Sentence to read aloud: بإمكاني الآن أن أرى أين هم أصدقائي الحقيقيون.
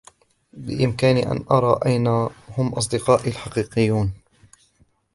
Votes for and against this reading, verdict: 0, 2, rejected